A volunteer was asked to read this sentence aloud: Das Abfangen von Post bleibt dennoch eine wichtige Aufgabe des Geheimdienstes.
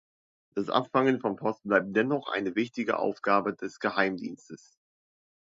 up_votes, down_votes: 2, 0